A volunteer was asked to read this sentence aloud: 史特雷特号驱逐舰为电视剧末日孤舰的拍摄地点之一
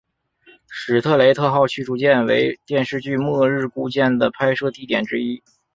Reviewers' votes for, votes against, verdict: 3, 0, accepted